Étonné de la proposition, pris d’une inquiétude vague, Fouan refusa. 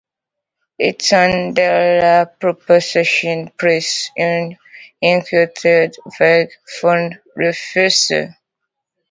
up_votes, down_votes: 0, 2